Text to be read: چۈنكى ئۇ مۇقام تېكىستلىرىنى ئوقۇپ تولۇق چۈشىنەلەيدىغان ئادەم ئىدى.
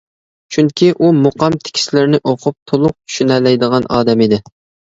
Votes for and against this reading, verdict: 0, 2, rejected